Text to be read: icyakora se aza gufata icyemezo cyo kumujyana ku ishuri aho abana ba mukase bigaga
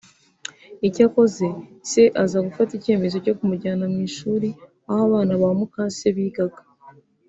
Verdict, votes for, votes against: rejected, 0, 2